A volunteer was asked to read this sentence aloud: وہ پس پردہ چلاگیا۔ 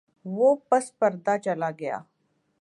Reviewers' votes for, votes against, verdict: 2, 0, accepted